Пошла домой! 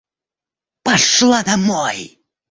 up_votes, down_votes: 1, 2